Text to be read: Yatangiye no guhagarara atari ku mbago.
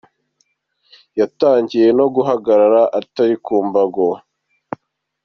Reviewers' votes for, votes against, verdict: 2, 0, accepted